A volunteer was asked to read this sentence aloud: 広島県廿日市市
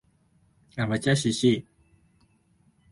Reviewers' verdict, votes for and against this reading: rejected, 0, 2